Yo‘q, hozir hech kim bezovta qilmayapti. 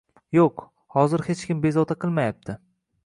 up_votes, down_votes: 2, 0